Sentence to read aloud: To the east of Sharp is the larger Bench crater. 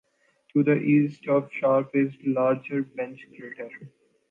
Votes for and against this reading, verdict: 1, 2, rejected